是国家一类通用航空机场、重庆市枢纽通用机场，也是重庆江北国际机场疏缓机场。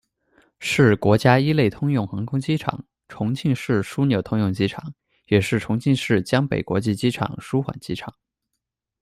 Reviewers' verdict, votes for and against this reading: rejected, 1, 2